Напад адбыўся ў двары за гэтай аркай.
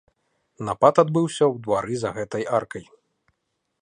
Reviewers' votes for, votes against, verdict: 2, 0, accepted